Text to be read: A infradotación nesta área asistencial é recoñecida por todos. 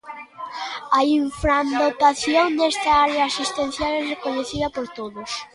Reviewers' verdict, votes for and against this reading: rejected, 0, 2